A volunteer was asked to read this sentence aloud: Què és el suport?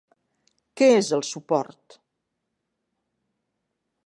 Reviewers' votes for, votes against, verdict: 3, 0, accepted